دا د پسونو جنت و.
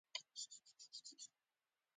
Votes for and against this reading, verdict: 0, 2, rejected